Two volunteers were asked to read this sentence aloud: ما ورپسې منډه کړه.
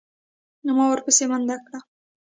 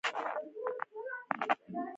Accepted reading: first